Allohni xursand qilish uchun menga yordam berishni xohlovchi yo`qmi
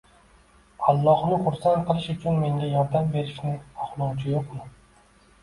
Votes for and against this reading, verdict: 1, 2, rejected